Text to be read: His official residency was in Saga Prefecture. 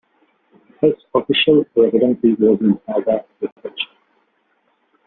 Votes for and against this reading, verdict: 1, 2, rejected